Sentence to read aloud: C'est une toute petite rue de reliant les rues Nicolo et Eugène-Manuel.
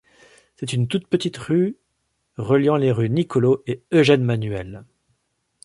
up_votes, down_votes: 1, 3